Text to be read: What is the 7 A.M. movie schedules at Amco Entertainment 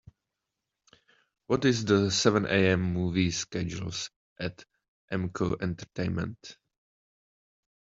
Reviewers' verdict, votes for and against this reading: rejected, 0, 2